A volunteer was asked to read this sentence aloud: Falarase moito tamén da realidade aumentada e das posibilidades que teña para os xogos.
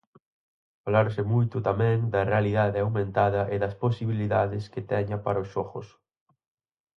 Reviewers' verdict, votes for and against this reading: rejected, 0, 4